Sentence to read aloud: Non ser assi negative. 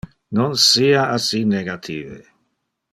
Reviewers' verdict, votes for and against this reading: rejected, 1, 2